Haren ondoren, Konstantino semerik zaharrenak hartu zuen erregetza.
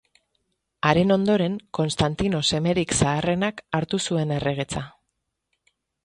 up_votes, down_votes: 2, 0